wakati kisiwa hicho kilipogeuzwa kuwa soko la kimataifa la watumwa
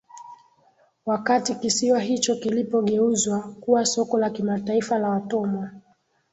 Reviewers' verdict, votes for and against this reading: accepted, 2, 0